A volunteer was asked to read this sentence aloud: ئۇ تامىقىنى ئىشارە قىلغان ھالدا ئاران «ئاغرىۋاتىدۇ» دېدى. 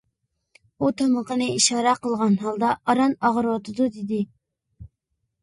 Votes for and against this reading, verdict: 2, 0, accepted